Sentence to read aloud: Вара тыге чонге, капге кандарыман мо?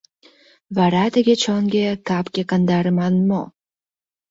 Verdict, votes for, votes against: accepted, 2, 1